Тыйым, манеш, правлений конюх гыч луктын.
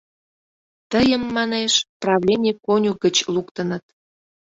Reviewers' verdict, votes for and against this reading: rejected, 0, 2